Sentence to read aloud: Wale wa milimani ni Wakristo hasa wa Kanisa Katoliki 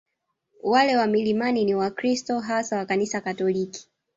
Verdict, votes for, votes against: rejected, 1, 2